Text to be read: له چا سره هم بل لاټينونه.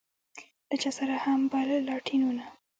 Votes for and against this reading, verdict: 2, 0, accepted